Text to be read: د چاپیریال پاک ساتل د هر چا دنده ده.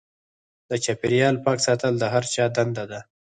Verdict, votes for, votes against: rejected, 0, 4